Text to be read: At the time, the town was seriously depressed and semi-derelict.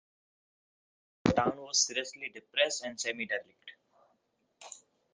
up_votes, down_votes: 0, 2